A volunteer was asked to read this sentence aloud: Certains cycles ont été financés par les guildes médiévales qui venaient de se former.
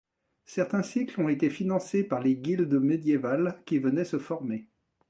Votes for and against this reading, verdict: 1, 2, rejected